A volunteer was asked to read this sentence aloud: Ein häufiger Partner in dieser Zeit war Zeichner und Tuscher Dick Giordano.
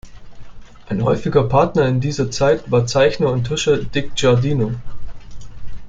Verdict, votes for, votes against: rejected, 1, 2